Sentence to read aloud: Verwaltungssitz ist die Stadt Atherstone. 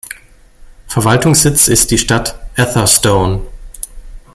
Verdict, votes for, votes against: accepted, 2, 0